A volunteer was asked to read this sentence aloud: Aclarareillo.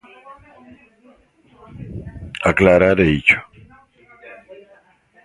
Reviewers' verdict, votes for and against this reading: rejected, 1, 2